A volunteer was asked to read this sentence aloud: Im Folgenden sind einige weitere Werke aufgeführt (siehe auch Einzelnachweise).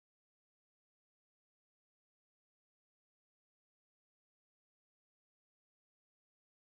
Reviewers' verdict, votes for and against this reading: rejected, 0, 4